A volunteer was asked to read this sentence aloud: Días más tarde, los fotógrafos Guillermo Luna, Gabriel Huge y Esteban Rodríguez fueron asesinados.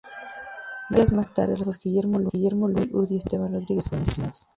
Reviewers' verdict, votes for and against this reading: rejected, 0, 4